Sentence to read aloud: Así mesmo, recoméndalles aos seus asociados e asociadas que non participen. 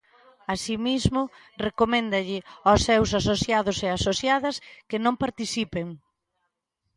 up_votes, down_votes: 0, 2